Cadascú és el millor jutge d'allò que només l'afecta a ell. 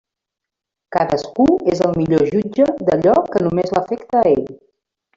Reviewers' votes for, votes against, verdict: 0, 2, rejected